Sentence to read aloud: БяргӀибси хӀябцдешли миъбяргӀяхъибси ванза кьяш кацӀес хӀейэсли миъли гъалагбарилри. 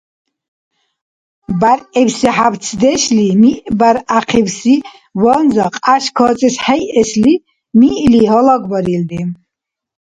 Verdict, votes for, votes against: accepted, 2, 0